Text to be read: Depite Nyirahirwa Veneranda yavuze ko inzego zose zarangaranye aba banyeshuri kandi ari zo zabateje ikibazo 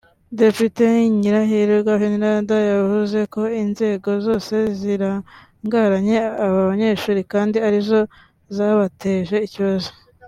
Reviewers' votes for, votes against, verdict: 2, 1, accepted